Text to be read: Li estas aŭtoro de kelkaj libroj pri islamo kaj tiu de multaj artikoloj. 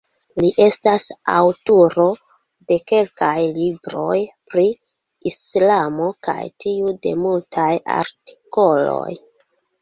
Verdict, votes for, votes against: rejected, 0, 2